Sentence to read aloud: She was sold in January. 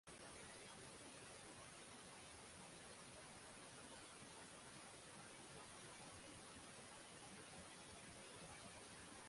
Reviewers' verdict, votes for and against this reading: rejected, 0, 6